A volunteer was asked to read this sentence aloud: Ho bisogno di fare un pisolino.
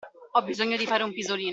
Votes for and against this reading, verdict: 1, 2, rejected